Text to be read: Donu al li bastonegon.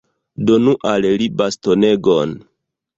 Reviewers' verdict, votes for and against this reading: accepted, 2, 0